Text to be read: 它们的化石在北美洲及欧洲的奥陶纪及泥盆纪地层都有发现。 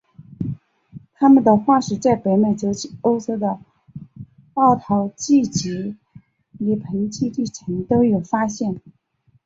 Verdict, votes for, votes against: accepted, 2, 1